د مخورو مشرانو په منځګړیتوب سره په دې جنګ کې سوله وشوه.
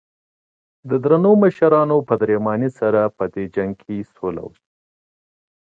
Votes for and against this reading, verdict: 1, 2, rejected